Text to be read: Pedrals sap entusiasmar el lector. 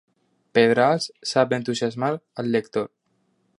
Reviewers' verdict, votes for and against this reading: rejected, 0, 2